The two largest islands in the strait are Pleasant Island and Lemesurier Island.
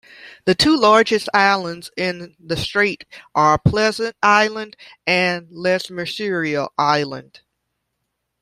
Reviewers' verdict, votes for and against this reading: rejected, 0, 2